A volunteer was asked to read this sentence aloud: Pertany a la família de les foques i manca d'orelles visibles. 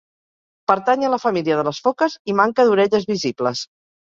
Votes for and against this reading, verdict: 2, 1, accepted